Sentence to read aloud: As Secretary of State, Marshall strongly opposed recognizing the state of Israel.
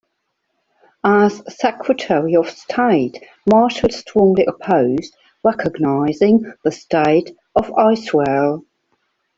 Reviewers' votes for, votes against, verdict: 2, 1, accepted